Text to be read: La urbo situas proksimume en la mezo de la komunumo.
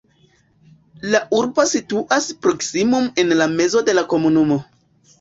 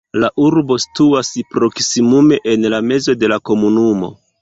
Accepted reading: second